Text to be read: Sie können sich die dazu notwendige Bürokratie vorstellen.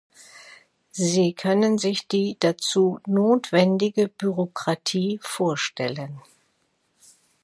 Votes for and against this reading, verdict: 2, 0, accepted